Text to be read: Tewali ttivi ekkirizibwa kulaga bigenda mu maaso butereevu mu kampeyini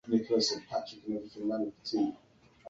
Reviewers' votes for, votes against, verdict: 1, 2, rejected